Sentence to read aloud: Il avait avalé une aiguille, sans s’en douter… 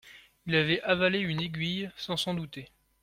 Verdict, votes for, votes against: accepted, 2, 0